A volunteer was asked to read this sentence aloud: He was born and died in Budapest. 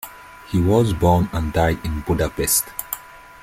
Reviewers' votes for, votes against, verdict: 3, 0, accepted